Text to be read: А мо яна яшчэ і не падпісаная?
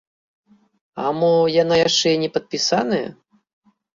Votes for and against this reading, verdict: 0, 2, rejected